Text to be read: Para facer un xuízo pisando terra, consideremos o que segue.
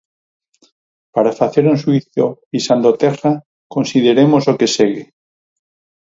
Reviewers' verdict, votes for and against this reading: accepted, 4, 0